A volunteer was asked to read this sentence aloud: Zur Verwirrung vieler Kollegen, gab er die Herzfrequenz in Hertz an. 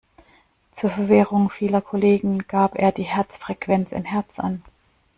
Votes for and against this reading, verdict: 2, 1, accepted